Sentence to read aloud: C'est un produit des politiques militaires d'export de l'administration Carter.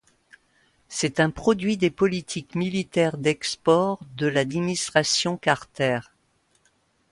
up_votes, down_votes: 0, 2